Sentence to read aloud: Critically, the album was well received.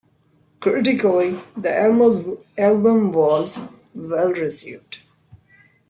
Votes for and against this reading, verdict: 0, 2, rejected